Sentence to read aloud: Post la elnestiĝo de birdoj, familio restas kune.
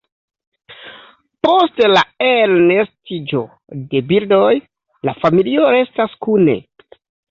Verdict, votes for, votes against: rejected, 1, 2